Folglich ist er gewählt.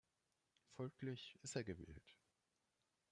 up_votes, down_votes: 1, 2